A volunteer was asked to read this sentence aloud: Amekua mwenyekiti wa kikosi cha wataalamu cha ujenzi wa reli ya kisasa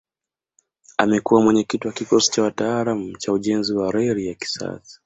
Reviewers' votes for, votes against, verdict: 2, 0, accepted